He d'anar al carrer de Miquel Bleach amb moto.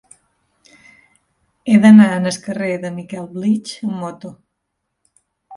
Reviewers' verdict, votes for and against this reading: rejected, 1, 2